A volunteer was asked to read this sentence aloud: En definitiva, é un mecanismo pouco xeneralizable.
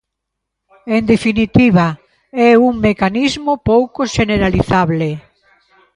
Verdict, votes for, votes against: accepted, 2, 0